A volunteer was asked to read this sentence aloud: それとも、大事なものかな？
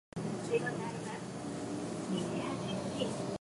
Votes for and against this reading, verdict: 0, 2, rejected